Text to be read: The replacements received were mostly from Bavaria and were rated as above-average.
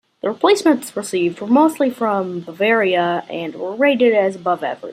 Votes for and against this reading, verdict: 2, 1, accepted